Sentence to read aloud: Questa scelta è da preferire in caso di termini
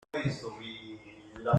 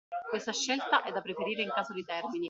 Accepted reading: second